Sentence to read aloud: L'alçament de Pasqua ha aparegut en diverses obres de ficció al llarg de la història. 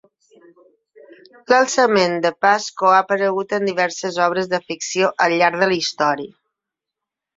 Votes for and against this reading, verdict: 3, 6, rejected